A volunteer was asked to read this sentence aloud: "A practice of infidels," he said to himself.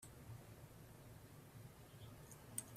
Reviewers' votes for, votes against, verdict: 0, 2, rejected